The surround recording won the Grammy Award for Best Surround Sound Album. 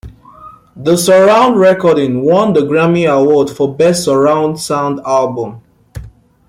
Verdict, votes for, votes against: accepted, 2, 0